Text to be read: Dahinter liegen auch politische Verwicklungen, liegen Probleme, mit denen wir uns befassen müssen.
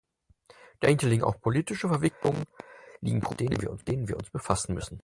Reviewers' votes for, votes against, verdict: 0, 4, rejected